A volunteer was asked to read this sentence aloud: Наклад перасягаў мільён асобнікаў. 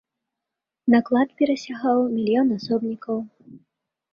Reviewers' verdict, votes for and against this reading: accepted, 2, 0